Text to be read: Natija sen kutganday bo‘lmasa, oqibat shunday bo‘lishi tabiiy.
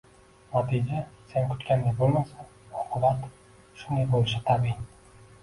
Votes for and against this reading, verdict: 1, 2, rejected